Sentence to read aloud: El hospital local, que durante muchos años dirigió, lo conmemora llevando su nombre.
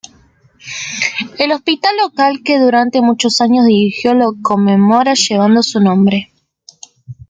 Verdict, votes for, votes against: accepted, 2, 0